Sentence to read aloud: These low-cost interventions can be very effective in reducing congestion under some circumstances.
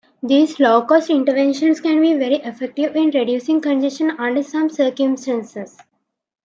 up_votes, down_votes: 1, 2